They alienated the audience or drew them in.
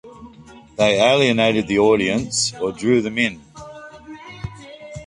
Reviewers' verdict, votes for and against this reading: accepted, 2, 0